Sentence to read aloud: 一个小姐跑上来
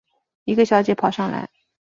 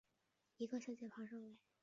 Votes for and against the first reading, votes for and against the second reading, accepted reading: 3, 0, 2, 3, first